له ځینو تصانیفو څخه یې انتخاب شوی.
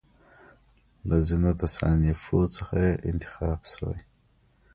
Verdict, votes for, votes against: accepted, 2, 0